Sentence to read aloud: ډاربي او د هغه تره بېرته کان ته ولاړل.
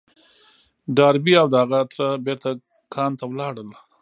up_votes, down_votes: 1, 2